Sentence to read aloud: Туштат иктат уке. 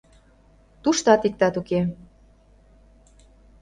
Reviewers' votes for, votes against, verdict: 2, 0, accepted